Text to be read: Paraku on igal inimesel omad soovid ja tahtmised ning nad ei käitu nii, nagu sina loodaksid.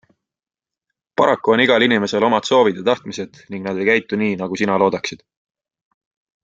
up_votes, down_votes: 3, 0